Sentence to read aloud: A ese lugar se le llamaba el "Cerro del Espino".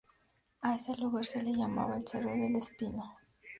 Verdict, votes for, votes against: accepted, 4, 0